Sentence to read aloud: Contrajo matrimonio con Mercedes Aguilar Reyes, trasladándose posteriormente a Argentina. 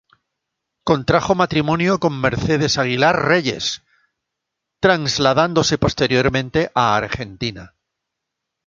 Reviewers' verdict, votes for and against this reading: rejected, 0, 2